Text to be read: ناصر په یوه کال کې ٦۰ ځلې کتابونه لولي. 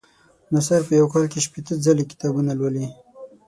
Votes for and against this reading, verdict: 0, 2, rejected